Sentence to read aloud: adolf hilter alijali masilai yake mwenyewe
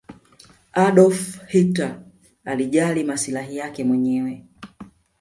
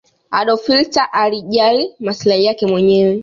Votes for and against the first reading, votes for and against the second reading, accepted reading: 1, 2, 2, 0, second